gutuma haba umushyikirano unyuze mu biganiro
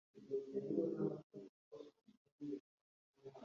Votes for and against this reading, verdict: 1, 2, rejected